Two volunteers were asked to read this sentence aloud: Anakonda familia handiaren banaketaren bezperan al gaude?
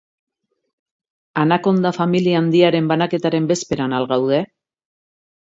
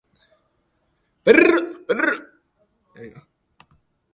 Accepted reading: first